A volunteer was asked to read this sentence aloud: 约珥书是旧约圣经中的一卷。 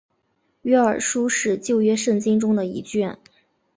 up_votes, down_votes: 4, 0